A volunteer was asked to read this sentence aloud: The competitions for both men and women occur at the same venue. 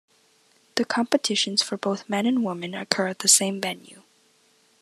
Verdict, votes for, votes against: accepted, 2, 1